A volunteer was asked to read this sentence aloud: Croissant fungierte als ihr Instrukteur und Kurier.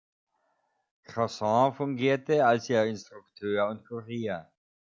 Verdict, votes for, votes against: accepted, 3, 0